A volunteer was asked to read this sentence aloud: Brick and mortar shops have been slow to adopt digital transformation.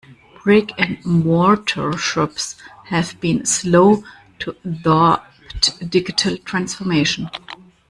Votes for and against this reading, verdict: 0, 2, rejected